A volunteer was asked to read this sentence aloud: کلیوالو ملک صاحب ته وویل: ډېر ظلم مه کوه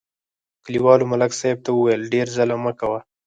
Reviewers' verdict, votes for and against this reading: rejected, 2, 4